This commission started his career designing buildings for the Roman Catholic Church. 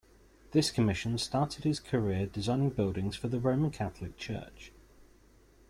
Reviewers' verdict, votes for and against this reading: accepted, 2, 0